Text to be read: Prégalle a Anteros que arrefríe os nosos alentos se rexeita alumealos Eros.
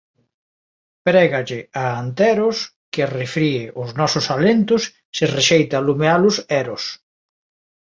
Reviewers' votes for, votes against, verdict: 2, 0, accepted